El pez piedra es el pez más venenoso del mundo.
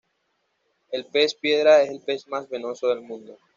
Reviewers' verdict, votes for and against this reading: rejected, 0, 2